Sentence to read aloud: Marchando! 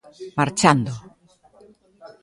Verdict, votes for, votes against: rejected, 0, 2